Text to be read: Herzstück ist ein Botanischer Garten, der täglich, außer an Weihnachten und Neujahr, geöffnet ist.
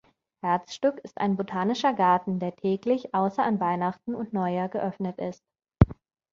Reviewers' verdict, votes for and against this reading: accepted, 2, 0